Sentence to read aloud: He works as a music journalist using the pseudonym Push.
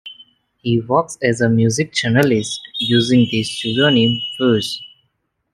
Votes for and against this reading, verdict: 1, 2, rejected